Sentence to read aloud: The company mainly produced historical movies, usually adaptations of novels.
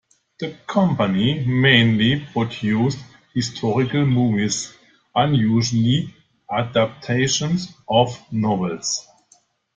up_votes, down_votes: 0, 2